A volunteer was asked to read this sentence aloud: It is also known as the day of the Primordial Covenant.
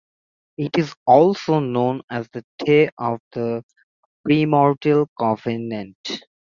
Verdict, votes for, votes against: rejected, 1, 2